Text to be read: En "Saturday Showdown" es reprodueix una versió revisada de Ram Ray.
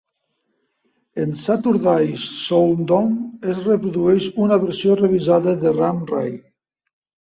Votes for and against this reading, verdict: 0, 2, rejected